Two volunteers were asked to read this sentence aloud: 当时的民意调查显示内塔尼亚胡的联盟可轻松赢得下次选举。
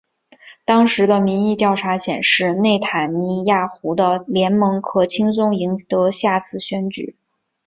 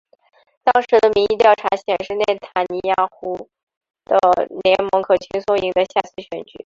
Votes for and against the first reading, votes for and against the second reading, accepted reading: 4, 1, 0, 2, first